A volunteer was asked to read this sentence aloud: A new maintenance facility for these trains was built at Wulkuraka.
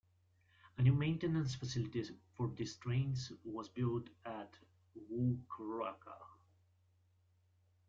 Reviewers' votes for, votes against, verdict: 1, 2, rejected